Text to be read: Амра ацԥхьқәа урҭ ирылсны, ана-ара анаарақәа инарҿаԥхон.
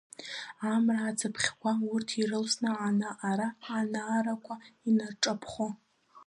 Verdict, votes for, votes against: accepted, 2, 0